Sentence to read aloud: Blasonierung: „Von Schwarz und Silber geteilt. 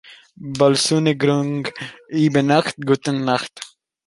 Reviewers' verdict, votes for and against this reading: rejected, 0, 2